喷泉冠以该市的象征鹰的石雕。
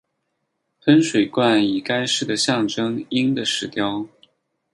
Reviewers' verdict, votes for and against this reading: accepted, 4, 0